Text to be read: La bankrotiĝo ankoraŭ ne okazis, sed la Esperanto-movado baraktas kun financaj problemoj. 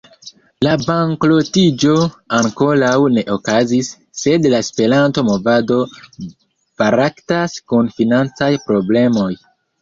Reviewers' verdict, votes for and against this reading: rejected, 1, 2